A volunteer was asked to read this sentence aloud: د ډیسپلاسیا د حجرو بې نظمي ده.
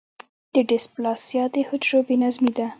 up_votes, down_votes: 1, 2